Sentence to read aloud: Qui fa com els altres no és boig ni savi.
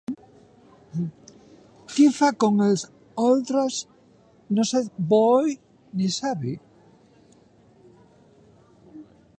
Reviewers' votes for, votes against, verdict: 1, 2, rejected